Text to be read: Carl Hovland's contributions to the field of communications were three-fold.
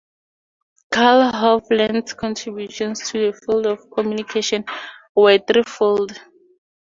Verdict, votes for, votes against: accepted, 2, 0